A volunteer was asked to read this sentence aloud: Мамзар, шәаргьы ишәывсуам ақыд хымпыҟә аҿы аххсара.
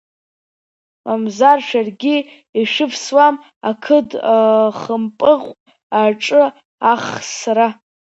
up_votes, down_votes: 1, 2